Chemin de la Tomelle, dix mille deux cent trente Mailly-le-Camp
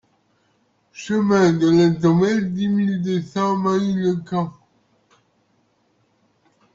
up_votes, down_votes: 0, 2